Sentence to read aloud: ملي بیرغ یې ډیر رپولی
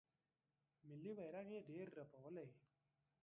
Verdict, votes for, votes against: rejected, 0, 2